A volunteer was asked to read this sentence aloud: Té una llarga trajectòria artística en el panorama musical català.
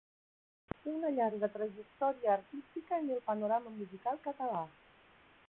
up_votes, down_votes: 0, 2